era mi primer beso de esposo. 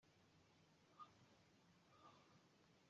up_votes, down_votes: 0, 2